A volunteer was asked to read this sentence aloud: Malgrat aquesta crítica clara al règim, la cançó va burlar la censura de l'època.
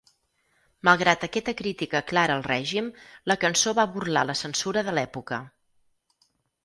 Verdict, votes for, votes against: rejected, 2, 4